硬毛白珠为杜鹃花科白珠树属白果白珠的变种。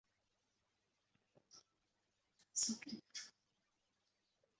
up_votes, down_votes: 2, 0